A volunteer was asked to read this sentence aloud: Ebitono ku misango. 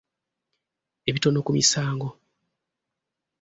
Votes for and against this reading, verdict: 2, 0, accepted